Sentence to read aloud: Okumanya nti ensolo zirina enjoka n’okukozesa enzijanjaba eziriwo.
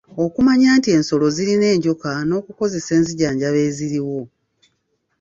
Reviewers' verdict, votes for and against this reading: accepted, 3, 0